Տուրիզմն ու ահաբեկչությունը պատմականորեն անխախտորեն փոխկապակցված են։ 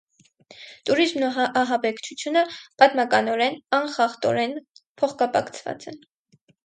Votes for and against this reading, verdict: 4, 2, accepted